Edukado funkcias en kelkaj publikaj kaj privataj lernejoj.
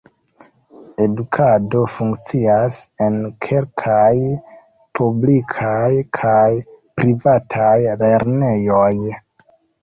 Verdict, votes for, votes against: rejected, 1, 2